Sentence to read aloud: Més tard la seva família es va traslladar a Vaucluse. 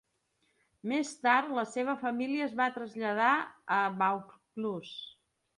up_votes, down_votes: 2, 0